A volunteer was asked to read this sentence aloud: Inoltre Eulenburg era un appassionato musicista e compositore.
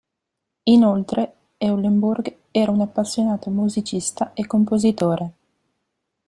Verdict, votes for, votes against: accepted, 2, 0